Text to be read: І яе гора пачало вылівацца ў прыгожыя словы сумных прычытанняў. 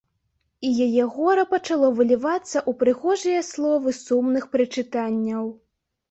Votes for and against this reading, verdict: 1, 2, rejected